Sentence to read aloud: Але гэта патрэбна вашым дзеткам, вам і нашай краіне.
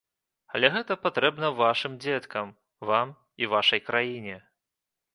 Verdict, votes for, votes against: rejected, 0, 2